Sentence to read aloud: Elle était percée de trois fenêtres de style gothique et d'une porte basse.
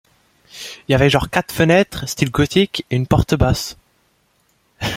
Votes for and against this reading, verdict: 1, 2, rejected